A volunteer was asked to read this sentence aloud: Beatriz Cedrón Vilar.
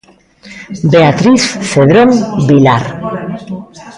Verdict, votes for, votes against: rejected, 0, 2